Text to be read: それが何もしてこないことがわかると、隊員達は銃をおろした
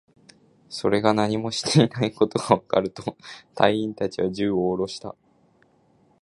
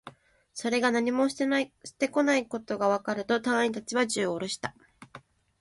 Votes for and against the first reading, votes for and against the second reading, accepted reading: 3, 0, 0, 2, first